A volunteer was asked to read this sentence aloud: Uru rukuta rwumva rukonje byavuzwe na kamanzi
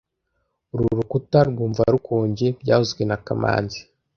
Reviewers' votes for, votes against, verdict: 2, 0, accepted